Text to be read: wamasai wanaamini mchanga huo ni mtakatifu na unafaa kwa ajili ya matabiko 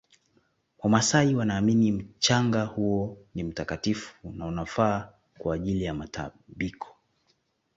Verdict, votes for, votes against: accepted, 2, 0